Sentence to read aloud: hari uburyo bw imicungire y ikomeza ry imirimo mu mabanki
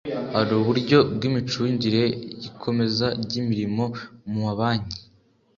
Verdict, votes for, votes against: accepted, 2, 0